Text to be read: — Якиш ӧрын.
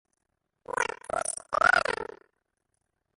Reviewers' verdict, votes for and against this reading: rejected, 0, 2